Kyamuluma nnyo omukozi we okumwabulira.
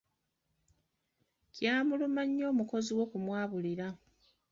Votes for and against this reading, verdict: 2, 0, accepted